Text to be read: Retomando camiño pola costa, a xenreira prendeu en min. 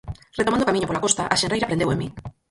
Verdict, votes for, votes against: rejected, 0, 4